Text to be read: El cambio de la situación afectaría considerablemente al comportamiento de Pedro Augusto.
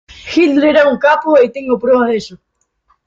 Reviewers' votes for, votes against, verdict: 0, 2, rejected